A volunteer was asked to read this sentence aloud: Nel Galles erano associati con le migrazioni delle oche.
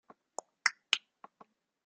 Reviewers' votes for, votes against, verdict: 0, 2, rejected